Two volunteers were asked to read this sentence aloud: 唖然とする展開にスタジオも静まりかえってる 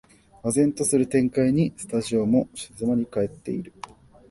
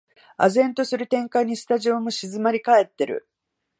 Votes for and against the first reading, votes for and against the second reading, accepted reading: 1, 2, 3, 0, second